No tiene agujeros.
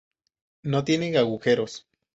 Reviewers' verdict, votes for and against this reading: rejected, 0, 4